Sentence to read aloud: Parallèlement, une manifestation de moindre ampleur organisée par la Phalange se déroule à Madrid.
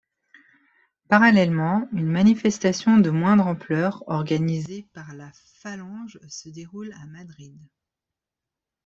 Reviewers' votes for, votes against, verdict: 2, 1, accepted